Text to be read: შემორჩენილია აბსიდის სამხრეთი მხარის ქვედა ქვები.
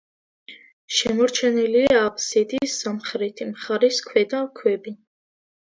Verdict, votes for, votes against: accepted, 2, 0